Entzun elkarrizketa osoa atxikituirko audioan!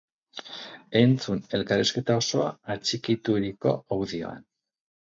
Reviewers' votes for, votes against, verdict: 0, 2, rejected